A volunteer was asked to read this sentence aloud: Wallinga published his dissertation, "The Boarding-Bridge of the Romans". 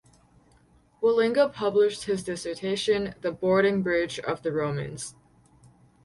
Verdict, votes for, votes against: accepted, 4, 0